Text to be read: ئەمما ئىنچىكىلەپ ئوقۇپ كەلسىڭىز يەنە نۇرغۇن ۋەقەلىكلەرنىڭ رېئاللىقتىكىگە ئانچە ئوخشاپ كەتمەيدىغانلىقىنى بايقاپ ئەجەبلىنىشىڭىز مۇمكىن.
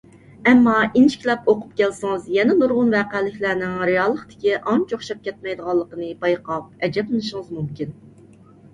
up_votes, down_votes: 2, 0